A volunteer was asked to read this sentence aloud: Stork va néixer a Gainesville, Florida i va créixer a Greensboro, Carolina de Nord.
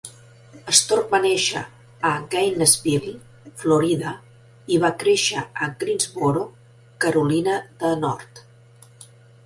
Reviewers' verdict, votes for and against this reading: accepted, 4, 0